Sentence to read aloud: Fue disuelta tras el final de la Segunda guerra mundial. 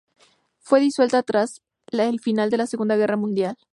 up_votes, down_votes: 2, 4